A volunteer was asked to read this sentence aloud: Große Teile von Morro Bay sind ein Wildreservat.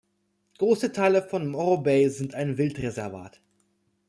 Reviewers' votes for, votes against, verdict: 2, 0, accepted